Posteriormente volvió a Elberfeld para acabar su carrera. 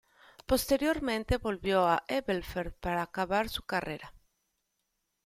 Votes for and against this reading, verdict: 2, 0, accepted